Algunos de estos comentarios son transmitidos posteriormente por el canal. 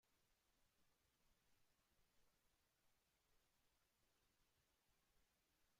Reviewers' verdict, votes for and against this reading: rejected, 0, 2